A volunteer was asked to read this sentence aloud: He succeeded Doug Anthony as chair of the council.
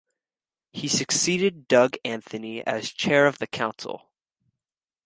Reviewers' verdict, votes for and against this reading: accepted, 2, 0